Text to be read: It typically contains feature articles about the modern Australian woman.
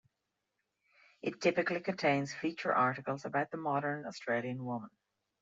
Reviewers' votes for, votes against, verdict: 2, 0, accepted